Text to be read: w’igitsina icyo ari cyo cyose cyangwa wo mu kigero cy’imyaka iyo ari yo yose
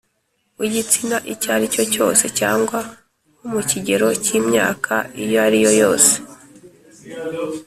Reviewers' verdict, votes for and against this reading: accepted, 2, 0